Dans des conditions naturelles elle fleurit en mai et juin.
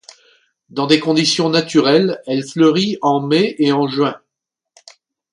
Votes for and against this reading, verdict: 1, 2, rejected